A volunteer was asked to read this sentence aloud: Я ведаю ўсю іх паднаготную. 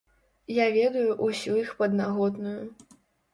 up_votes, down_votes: 0, 2